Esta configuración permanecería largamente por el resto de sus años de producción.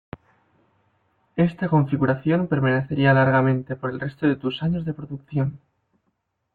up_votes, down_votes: 1, 2